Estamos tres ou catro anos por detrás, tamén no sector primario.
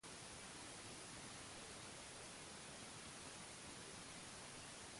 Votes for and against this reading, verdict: 0, 2, rejected